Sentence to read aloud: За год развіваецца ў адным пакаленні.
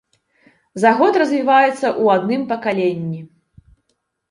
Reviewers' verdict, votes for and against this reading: rejected, 1, 2